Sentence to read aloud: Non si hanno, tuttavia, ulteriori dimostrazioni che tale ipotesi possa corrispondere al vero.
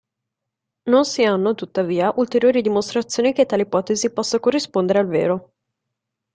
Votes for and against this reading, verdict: 1, 2, rejected